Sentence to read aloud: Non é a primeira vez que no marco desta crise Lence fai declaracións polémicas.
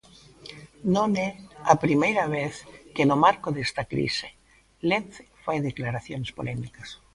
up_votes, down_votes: 3, 0